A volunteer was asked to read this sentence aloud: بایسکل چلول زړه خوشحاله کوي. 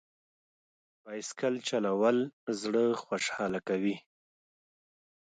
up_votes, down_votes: 2, 0